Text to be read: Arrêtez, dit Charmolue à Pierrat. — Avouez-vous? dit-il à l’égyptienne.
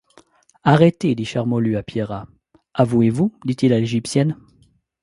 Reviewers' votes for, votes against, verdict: 2, 0, accepted